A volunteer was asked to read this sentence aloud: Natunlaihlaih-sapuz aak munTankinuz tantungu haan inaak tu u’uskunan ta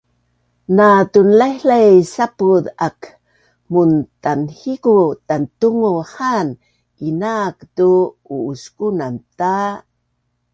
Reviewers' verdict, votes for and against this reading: rejected, 0, 2